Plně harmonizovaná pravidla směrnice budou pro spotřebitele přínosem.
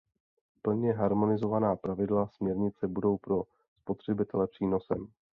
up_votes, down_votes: 2, 0